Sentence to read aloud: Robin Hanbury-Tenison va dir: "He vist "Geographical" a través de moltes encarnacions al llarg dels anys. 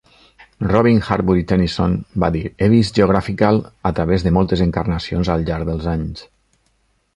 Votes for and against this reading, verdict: 2, 1, accepted